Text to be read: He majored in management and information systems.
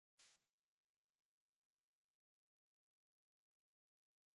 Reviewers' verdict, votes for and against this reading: rejected, 1, 2